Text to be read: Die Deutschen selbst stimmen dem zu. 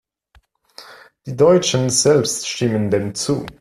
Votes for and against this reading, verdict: 2, 0, accepted